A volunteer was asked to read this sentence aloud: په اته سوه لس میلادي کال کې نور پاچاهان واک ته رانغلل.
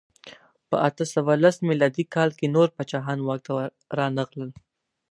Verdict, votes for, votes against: accepted, 4, 0